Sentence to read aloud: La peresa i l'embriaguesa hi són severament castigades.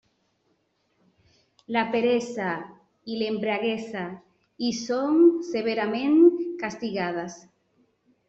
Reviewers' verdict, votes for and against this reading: rejected, 1, 2